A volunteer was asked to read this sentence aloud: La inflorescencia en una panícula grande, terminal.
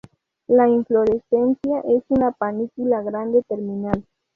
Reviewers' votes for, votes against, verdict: 2, 2, rejected